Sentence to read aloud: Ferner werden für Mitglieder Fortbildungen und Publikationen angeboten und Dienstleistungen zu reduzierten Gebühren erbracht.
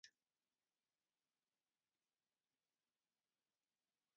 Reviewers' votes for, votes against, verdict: 0, 4, rejected